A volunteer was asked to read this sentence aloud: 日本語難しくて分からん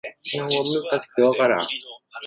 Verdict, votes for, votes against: rejected, 1, 2